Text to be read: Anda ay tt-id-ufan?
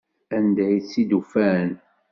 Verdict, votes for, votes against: accepted, 2, 0